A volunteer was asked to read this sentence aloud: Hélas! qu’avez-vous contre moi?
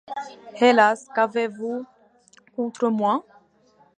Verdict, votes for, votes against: accepted, 2, 1